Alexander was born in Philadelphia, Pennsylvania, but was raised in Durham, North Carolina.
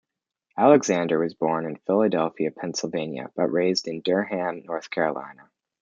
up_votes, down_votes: 1, 2